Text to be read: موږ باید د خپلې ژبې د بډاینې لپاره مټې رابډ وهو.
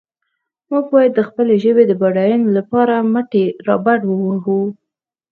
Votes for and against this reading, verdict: 0, 4, rejected